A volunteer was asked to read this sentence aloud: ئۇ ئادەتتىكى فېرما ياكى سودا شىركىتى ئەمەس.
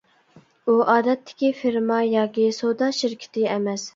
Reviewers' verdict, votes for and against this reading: accepted, 2, 1